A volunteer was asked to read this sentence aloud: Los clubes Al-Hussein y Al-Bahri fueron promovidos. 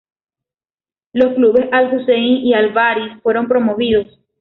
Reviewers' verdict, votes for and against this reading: accepted, 2, 0